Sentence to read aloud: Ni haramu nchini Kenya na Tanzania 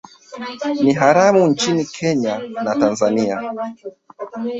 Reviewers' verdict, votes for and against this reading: rejected, 0, 2